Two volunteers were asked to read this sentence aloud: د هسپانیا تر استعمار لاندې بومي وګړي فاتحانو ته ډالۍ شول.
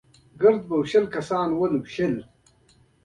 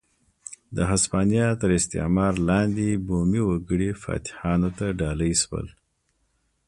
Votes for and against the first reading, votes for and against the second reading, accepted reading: 1, 2, 2, 0, second